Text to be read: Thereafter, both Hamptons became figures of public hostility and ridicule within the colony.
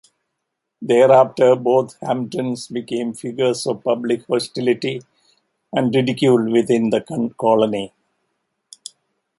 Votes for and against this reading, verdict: 2, 1, accepted